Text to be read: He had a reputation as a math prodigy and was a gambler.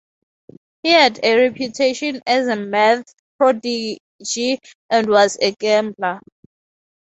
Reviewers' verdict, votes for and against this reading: accepted, 2, 0